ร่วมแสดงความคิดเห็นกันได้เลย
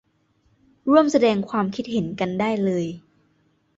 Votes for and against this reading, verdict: 2, 0, accepted